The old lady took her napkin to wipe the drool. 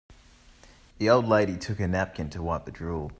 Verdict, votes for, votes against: accepted, 2, 0